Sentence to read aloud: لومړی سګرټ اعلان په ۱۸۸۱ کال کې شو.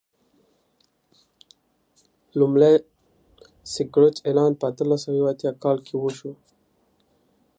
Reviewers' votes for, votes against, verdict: 0, 2, rejected